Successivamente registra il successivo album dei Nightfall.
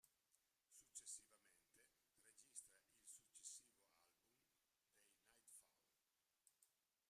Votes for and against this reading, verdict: 0, 2, rejected